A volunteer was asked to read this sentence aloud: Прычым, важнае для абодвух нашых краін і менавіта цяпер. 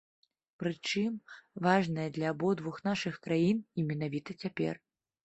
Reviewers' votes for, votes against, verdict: 2, 0, accepted